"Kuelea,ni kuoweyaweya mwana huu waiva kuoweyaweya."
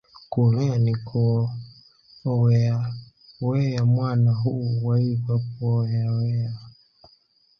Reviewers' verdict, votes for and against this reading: rejected, 0, 2